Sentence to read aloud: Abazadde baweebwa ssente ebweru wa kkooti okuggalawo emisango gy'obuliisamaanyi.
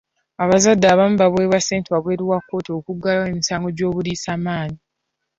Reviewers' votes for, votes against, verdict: 0, 2, rejected